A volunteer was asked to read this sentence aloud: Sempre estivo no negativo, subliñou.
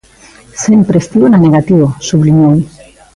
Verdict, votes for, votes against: rejected, 1, 2